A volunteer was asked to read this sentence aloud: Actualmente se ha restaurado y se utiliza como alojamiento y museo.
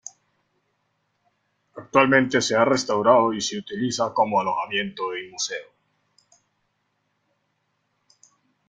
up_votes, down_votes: 2, 1